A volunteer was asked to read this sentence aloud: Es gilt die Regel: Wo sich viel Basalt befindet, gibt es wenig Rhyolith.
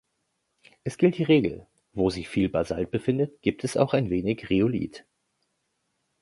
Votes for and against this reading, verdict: 0, 2, rejected